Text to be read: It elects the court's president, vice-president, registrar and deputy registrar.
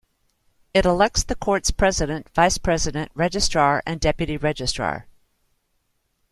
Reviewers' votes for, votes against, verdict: 2, 1, accepted